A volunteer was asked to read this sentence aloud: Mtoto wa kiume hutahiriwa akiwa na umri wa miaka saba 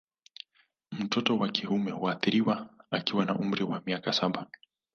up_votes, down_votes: 1, 2